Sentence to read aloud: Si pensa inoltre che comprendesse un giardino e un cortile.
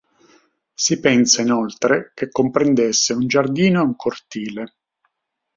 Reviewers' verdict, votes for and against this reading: accepted, 6, 0